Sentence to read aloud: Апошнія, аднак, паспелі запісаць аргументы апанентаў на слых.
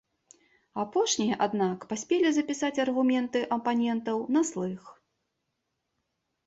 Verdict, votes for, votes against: accepted, 2, 0